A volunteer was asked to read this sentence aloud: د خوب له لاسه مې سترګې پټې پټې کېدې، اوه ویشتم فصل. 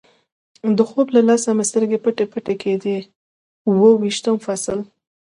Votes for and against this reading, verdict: 2, 0, accepted